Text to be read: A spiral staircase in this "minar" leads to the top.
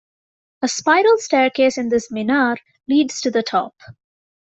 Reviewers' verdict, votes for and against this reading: accepted, 2, 1